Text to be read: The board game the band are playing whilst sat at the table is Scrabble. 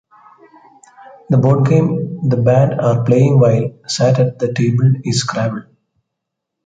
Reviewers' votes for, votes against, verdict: 2, 0, accepted